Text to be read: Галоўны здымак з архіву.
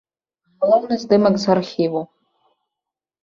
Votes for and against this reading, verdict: 0, 2, rejected